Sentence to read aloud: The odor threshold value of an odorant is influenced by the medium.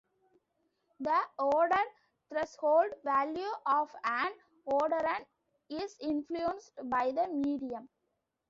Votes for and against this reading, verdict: 2, 1, accepted